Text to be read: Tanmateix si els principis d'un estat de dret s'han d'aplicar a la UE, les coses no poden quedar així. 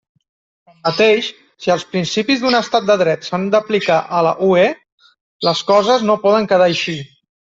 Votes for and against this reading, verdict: 1, 2, rejected